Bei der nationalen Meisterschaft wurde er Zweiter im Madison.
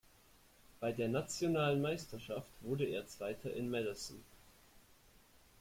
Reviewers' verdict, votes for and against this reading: accepted, 2, 0